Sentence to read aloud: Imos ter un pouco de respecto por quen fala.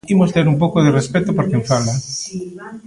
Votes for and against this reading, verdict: 1, 2, rejected